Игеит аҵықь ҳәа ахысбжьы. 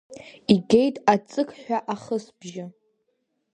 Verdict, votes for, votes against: accepted, 2, 1